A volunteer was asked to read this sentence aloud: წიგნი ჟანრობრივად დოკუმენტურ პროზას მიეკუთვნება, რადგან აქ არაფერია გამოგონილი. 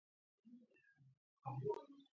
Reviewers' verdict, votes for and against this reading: rejected, 0, 2